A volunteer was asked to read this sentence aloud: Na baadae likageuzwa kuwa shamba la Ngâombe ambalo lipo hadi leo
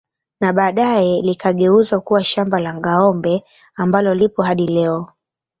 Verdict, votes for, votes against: rejected, 0, 2